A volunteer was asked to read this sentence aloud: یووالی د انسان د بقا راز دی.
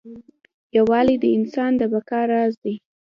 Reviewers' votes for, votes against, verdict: 2, 0, accepted